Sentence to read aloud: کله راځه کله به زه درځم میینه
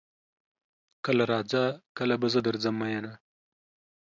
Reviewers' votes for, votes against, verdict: 2, 0, accepted